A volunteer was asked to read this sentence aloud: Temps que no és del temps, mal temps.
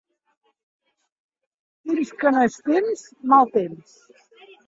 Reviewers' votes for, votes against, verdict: 1, 2, rejected